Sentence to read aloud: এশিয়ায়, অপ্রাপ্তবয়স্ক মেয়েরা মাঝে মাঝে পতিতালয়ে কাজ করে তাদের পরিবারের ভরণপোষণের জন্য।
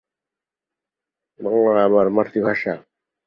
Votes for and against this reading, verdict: 1, 23, rejected